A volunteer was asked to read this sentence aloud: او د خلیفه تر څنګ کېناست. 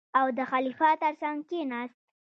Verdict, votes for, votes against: rejected, 1, 2